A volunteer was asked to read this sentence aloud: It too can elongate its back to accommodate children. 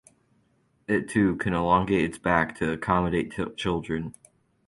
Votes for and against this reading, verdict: 2, 4, rejected